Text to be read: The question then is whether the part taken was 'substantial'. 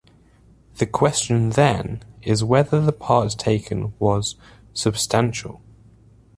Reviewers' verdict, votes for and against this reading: rejected, 0, 2